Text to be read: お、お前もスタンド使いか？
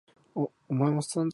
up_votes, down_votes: 2, 4